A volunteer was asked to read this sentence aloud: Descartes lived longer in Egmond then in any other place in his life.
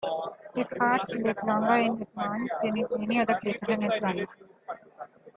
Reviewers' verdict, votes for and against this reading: rejected, 0, 2